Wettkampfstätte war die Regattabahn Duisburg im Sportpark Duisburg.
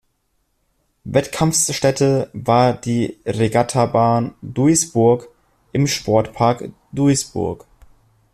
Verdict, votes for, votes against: rejected, 0, 2